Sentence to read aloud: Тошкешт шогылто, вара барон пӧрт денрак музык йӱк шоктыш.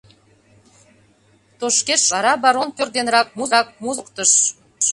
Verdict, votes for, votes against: rejected, 0, 2